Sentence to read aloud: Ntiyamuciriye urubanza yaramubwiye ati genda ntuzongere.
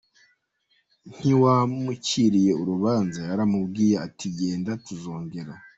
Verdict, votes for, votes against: rejected, 1, 2